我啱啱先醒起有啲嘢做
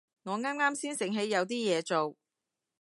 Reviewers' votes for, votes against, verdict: 2, 0, accepted